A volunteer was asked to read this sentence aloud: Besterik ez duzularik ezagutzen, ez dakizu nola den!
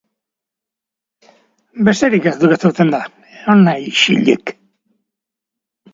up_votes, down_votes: 0, 2